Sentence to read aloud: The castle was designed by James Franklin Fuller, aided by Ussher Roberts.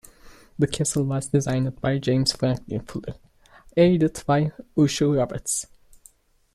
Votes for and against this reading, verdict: 2, 0, accepted